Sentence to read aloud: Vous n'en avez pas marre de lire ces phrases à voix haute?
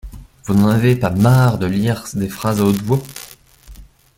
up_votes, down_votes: 1, 2